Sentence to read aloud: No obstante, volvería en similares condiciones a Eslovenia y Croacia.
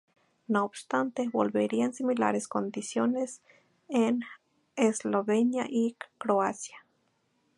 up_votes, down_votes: 0, 2